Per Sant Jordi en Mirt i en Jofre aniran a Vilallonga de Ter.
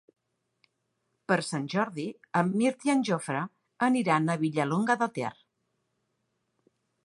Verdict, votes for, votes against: rejected, 1, 2